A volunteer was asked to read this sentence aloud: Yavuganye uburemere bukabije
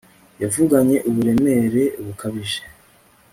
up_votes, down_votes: 1, 2